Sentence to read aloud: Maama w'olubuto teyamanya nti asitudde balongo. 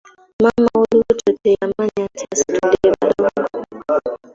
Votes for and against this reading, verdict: 0, 2, rejected